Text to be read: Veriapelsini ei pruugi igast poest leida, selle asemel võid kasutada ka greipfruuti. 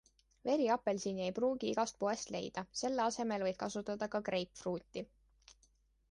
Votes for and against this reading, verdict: 2, 0, accepted